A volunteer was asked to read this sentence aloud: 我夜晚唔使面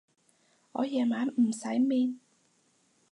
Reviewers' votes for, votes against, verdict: 4, 0, accepted